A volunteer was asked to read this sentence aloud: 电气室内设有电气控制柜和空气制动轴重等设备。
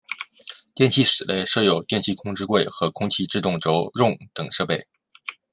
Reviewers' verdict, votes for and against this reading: accepted, 2, 0